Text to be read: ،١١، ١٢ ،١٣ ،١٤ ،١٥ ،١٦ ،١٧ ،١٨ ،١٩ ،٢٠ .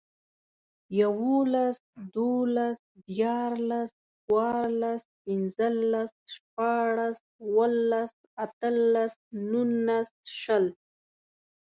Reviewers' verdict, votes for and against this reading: rejected, 0, 2